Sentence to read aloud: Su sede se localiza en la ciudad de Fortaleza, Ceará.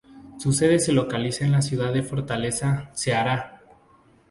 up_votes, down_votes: 2, 0